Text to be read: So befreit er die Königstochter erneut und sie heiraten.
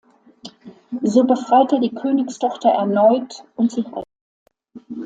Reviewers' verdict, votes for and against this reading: rejected, 0, 2